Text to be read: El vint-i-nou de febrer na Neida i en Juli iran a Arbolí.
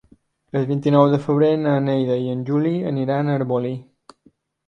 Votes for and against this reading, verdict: 1, 4, rejected